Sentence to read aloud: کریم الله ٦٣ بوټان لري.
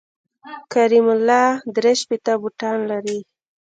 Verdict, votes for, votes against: rejected, 0, 2